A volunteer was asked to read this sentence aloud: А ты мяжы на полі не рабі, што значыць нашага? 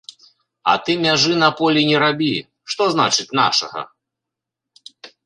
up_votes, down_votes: 2, 0